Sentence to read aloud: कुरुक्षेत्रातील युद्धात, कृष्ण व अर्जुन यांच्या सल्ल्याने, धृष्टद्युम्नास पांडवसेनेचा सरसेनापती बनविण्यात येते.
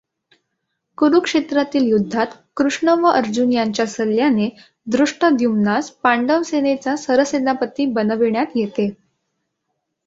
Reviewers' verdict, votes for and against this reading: accepted, 2, 0